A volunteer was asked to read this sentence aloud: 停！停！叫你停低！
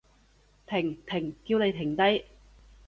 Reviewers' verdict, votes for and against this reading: accepted, 2, 0